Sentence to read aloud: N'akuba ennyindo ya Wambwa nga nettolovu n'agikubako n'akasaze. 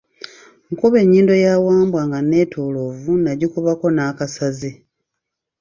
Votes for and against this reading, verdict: 2, 1, accepted